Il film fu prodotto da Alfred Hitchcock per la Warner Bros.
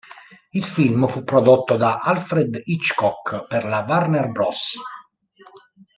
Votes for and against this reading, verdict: 1, 2, rejected